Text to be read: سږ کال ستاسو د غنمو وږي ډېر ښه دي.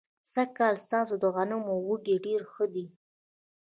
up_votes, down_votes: 2, 0